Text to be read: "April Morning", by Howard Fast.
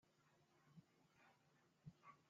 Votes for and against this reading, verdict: 0, 2, rejected